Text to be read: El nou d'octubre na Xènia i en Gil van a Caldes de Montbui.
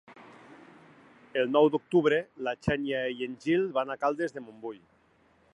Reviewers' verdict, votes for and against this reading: rejected, 1, 2